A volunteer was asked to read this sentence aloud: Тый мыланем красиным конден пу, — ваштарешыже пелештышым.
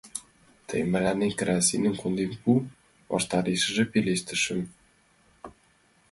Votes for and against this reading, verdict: 2, 1, accepted